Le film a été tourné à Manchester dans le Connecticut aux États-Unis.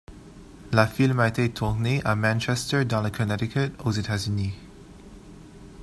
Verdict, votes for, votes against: rejected, 1, 2